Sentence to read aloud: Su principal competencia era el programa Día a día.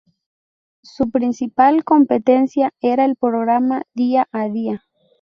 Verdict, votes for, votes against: accepted, 4, 0